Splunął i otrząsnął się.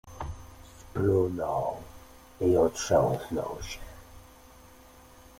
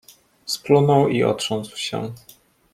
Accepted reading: first